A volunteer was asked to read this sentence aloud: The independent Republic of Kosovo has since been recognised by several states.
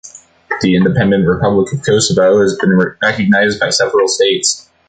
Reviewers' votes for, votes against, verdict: 1, 2, rejected